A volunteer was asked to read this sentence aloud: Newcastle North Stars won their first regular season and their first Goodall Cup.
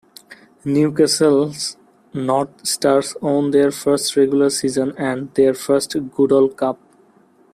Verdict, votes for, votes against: rejected, 0, 2